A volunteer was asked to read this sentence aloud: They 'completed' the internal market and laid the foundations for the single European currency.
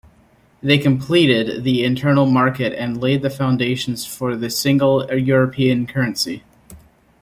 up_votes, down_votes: 1, 2